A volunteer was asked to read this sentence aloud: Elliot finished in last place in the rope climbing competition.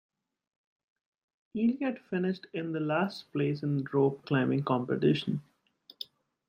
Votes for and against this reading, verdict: 0, 2, rejected